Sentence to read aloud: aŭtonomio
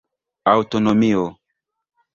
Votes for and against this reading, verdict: 1, 2, rejected